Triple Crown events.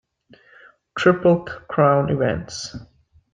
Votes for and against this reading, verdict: 2, 0, accepted